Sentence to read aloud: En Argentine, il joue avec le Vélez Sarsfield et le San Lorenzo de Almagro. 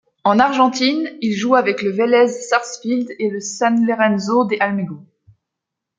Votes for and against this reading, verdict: 0, 2, rejected